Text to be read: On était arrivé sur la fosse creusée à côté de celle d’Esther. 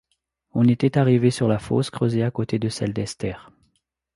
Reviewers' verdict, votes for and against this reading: accepted, 2, 0